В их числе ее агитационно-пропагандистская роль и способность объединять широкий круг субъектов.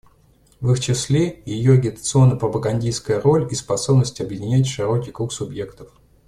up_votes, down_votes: 2, 0